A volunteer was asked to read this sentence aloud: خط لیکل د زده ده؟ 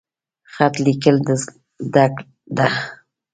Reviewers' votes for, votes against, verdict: 0, 2, rejected